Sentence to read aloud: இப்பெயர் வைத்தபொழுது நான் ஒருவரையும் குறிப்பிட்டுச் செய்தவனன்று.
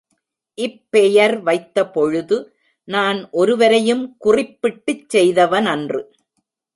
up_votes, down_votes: 2, 0